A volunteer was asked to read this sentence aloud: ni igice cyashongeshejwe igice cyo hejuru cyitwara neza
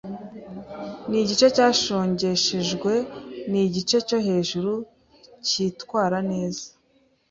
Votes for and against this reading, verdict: 2, 0, accepted